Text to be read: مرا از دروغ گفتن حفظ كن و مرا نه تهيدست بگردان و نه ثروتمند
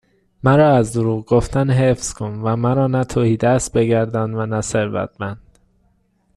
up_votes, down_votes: 2, 0